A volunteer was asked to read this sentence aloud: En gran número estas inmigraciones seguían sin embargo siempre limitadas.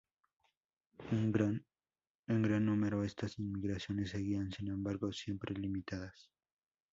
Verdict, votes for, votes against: rejected, 0, 2